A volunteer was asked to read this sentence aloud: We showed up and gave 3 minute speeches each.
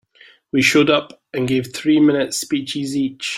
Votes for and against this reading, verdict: 0, 2, rejected